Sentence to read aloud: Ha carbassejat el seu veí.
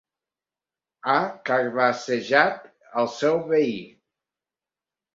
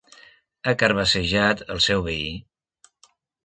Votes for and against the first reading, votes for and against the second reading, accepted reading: 1, 2, 4, 0, second